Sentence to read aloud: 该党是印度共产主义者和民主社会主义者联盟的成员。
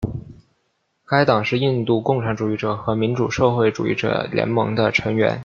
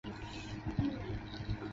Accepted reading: first